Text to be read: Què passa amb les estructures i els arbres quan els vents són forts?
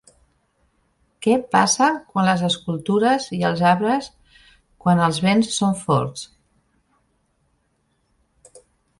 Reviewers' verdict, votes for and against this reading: rejected, 1, 2